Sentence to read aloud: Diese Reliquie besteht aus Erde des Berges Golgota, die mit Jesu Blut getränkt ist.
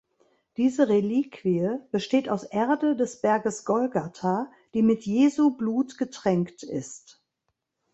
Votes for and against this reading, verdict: 1, 2, rejected